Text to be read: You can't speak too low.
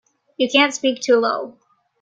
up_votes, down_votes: 2, 1